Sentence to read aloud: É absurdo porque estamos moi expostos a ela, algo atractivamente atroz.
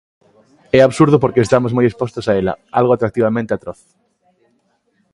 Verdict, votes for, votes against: accepted, 2, 0